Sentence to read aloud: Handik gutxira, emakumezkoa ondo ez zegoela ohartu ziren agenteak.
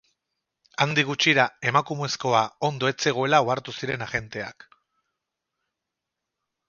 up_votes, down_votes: 2, 2